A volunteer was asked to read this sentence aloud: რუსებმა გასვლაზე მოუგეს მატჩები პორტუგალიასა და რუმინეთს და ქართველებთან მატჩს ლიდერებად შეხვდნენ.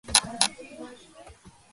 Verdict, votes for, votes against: rejected, 0, 2